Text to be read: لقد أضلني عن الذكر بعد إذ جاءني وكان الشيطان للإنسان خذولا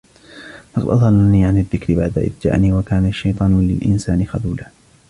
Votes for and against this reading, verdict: 0, 2, rejected